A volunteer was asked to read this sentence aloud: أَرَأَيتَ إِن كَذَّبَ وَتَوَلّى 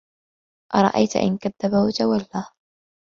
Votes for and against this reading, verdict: 2, 0, accepted